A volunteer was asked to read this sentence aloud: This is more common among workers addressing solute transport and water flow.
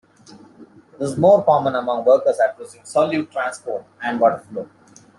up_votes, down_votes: 2, 0